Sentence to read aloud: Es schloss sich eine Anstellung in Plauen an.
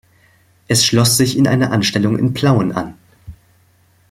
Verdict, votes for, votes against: rejected, 1, 2